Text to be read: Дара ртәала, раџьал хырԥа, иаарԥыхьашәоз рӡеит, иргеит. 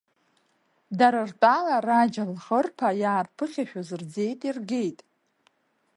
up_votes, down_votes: 2, 3